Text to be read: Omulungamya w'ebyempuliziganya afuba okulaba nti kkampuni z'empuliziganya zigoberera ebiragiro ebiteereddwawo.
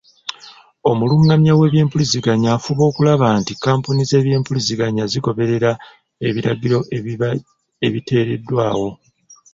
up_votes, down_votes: 1, 2